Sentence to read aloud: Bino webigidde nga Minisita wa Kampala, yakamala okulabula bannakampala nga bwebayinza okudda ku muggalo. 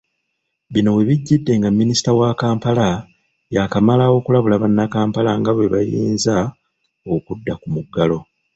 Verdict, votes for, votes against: rejected, 0, 2